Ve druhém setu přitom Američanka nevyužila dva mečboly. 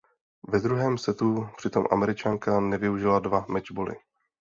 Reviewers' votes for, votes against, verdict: 2, 0, accepted